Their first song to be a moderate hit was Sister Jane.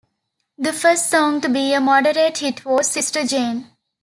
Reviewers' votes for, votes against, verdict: 1, 2, rejected